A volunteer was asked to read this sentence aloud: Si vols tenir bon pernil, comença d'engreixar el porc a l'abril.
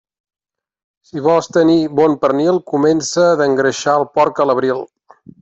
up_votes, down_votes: 3, 0